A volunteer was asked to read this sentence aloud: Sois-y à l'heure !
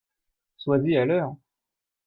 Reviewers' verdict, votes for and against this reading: accepted, 2, 0